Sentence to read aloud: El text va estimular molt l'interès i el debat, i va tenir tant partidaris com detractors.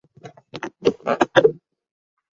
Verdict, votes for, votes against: rejected, 0, 2